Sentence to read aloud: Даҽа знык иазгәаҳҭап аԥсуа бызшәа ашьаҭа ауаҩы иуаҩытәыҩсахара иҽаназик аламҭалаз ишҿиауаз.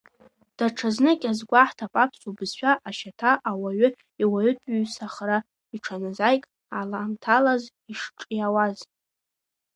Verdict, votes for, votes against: rejected, 1, 2